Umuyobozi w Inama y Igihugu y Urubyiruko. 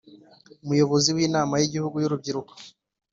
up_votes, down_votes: 2, 0